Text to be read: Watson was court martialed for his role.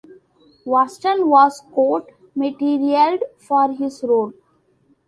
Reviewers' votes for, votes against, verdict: 0, 2, rejected